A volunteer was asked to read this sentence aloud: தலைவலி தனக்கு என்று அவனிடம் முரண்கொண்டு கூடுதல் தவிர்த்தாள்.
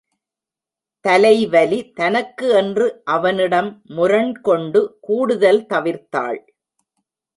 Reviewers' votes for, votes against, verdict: 2, 0, accepted